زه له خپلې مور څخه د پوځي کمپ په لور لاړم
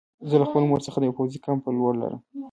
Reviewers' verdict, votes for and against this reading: rejected, 0, 2